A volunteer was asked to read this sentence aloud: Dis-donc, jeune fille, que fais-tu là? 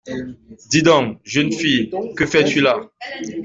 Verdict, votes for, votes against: accepted, 2, 1